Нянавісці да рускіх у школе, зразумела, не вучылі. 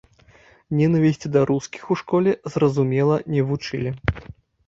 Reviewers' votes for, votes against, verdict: 0, 3, rejected